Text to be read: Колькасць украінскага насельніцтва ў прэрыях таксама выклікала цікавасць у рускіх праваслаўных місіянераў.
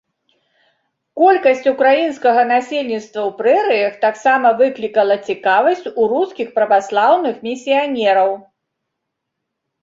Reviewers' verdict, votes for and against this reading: accepted, 2, 0